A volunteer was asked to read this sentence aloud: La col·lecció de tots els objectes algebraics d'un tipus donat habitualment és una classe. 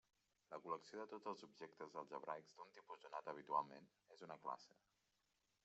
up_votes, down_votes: 0, 2